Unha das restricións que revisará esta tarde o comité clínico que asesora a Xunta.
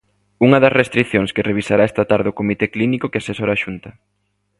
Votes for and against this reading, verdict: 2, 0, accepted